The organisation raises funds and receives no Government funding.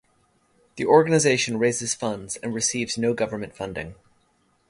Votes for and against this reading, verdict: 3, 3, rejected